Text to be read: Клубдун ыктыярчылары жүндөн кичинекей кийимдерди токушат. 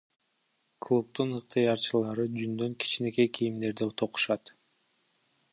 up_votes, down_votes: 1, 2